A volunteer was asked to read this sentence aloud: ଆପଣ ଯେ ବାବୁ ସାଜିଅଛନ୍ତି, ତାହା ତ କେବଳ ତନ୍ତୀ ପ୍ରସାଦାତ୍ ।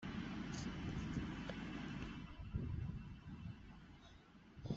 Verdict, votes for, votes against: rejected, 0, 2